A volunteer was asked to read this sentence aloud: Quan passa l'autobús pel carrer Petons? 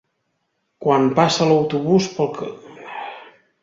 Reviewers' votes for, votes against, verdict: 0, 3, rejected